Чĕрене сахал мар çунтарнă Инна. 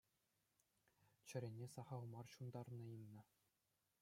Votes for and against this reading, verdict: 2, 0, accepted